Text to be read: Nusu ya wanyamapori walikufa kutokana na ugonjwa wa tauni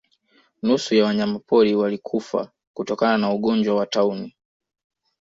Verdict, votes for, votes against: accepted, 2, 0